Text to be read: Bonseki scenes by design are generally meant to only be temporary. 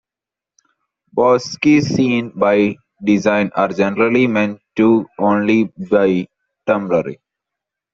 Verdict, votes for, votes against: rejected, 0, 2